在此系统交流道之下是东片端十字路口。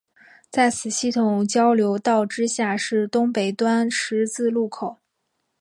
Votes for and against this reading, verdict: 0, 2, rejected